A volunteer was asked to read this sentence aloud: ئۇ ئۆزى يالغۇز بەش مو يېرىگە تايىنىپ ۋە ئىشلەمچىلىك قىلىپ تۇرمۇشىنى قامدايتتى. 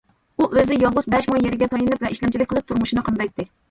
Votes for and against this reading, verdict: 2, 0, accepted